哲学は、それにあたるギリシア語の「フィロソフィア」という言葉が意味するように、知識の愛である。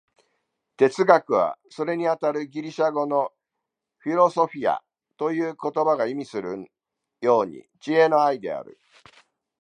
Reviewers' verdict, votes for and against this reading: rejected, 1, 2